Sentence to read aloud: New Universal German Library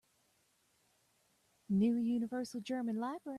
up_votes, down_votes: 1, 2